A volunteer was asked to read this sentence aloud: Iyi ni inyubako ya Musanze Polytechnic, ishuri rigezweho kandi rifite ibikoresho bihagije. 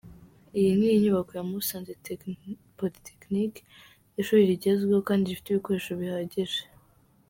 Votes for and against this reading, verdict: 1, 2, rejected